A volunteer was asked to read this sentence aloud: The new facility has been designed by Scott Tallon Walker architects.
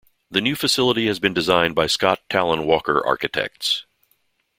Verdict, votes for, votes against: accepted, 2, 0